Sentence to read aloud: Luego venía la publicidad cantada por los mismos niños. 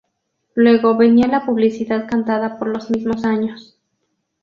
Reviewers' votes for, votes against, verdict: 0, 2, rejected